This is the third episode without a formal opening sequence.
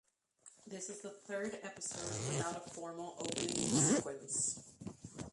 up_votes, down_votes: 1, 2